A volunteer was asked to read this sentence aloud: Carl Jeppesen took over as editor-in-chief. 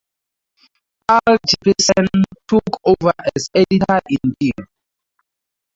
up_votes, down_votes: 2, 0